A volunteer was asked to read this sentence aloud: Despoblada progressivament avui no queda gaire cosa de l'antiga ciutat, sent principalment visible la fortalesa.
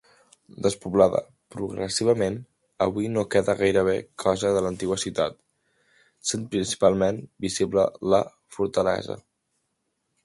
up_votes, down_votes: 2, 1